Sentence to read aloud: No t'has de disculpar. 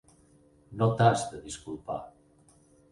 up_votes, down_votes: 6, 0